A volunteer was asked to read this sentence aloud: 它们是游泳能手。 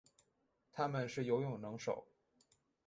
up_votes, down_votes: 6, 0